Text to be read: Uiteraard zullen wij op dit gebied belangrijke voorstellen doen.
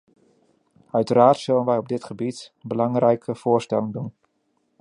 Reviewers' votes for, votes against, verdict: 2, 0, accepted